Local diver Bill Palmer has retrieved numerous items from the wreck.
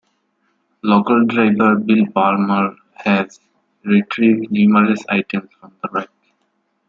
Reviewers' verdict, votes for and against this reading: rejected, 1, 2